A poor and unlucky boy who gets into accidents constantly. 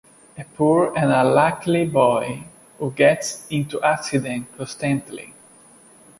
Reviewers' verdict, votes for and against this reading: rejected, 0, 2